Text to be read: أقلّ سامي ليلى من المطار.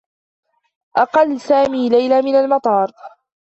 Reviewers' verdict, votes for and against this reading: rejected, 0, 2